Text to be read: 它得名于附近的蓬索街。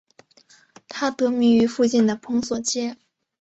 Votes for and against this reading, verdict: 3, 0, accepted